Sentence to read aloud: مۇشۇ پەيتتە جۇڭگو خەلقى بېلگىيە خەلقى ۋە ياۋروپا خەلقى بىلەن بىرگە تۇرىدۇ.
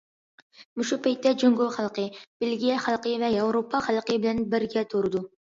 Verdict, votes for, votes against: accepted, 2, 0